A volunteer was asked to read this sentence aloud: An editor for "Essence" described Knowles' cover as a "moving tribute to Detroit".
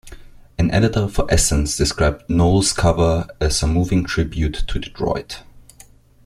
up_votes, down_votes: 2, 0